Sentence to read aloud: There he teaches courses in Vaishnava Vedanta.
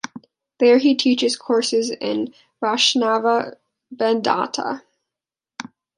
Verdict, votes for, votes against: rejected, 0, 2